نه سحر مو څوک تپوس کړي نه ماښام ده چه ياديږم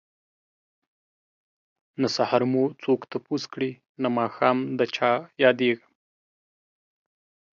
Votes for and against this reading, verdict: 2, 0, accepted